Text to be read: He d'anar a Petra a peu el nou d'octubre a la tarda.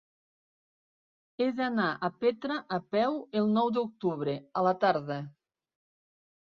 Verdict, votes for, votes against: accepted, 3, 0